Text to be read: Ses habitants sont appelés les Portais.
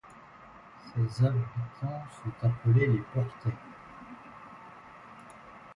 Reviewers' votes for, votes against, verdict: 0, 2, rejected